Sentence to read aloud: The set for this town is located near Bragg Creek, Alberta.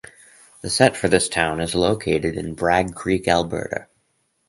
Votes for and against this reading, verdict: 2, 2, rejected